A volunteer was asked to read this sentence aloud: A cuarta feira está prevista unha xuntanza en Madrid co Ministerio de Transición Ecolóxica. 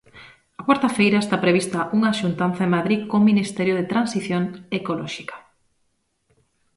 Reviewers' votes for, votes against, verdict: 2, 0, accepted